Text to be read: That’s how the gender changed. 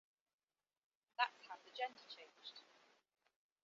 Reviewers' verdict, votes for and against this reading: accepted, 2, 1